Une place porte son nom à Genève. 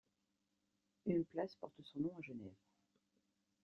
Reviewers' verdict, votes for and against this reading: rejected, 1, 2